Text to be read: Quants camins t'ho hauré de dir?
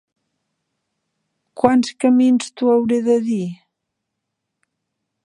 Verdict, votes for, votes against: accepted, 3, 0